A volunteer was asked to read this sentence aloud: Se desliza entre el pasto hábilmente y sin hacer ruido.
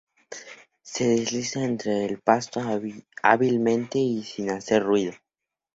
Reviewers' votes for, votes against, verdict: 2, 0, accepted